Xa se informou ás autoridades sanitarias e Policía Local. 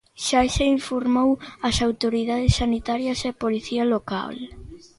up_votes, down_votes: 2, 0